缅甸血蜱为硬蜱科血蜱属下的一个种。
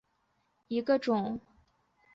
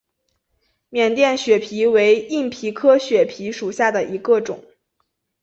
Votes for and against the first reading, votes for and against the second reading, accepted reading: 0, 2, 4, 0, second